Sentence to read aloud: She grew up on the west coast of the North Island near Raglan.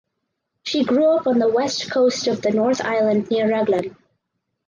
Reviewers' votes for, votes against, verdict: 4, 0, accepted